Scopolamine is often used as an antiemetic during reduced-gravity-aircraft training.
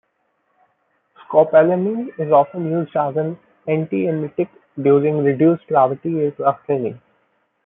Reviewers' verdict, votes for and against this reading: rejected, 0, 2